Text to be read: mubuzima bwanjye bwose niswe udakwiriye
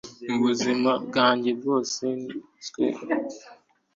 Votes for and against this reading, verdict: 2, 1, accepted